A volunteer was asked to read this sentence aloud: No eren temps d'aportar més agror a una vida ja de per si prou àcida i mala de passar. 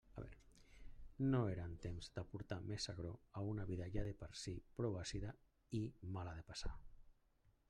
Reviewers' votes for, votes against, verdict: 1, 2, rejected